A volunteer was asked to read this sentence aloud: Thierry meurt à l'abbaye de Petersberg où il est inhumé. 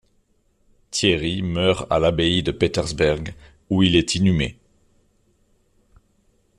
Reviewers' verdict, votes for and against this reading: accepted, 2, 0